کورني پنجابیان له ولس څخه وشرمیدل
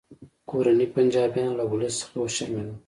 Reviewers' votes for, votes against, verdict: 3, 1, accepted